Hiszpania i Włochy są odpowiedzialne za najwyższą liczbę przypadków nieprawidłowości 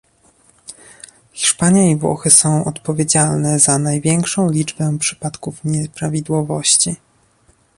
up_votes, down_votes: 0, 2